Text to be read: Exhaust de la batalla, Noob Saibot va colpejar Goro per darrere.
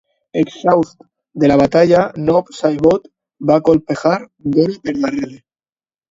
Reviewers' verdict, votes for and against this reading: accepted, 2, 1